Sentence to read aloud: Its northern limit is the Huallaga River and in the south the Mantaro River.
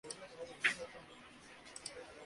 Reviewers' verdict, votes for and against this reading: rejected, 0, 2